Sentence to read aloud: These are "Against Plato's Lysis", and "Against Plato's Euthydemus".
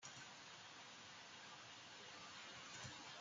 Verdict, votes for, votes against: rejected, 0, 2